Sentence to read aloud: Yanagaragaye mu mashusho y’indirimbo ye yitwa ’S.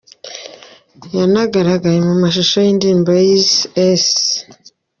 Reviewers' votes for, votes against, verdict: 1, 2, rejected